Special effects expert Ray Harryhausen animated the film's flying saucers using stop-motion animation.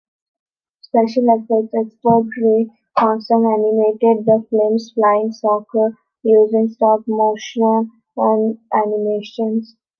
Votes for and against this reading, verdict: 0, 2, rejected